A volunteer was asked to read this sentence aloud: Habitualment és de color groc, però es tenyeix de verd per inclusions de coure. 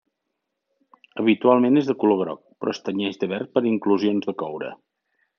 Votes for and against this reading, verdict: 1, 2, rejected